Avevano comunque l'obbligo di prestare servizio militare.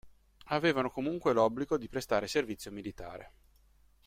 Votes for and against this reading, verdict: 2, 0, accepted